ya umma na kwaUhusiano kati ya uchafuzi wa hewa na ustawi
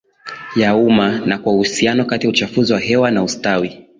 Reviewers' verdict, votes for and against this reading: accepted, 9, 4